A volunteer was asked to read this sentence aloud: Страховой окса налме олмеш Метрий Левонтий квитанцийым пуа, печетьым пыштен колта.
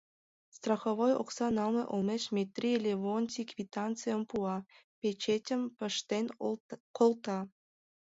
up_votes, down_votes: 1, 2